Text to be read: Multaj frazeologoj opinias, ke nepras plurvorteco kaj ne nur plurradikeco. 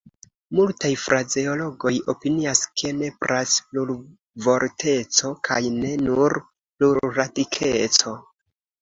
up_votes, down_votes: 2, 0